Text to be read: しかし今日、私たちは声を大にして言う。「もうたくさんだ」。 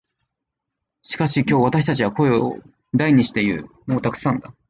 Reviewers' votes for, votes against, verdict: 2, 0, accepted